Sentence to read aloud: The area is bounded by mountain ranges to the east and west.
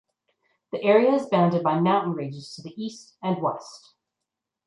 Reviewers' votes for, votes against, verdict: 2, 0, accepted